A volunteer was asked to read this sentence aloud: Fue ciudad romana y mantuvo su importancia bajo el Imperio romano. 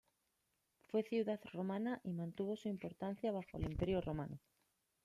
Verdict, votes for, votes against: accepted, 2, 0